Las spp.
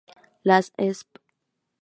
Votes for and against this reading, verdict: 0, 2, rejected